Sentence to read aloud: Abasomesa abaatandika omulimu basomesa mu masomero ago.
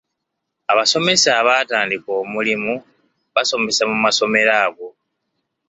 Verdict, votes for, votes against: accepted, 2, 0